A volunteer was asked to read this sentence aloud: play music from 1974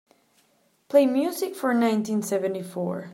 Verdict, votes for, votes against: rejected, 0, 2